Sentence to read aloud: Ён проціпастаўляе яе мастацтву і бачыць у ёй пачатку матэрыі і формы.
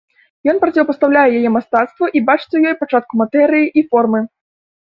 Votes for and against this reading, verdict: 1, 2, rejected